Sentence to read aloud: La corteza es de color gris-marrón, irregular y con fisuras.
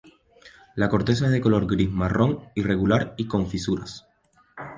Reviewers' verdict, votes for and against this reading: accepted, 2, 0